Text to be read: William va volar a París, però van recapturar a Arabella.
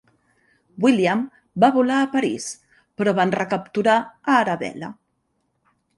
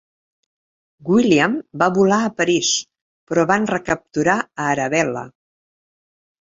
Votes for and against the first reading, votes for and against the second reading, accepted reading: 1, 2, 2, 0, second